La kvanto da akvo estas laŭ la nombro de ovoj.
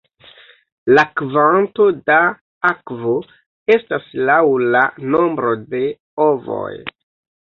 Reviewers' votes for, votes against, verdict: 2, 0, accepted